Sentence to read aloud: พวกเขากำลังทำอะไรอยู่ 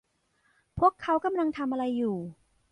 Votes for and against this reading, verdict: 2, 0, accepted